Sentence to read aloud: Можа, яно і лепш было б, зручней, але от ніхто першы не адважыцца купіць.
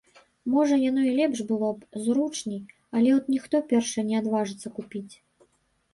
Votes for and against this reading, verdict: 1, 2, rejected